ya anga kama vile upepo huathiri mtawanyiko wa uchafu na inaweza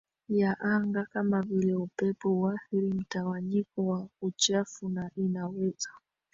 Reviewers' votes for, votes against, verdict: 0, 2, rejected